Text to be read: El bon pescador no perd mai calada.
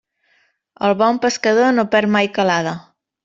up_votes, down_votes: 3, 0